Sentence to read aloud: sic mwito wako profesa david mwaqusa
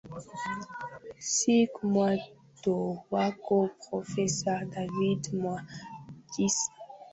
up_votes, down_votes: 1, 4